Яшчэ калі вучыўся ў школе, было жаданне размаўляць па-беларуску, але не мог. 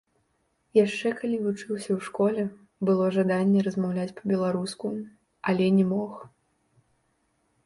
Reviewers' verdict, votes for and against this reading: rejected, 1, 2